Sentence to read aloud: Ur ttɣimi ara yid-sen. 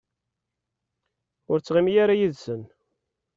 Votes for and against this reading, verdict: 2, 0, accepted